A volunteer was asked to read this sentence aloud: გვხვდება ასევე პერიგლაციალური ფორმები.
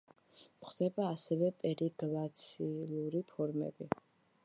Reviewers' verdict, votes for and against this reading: rejected, 1, 2